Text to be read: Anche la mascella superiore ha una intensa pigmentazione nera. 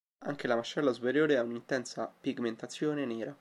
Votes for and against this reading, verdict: 2, 1, accepted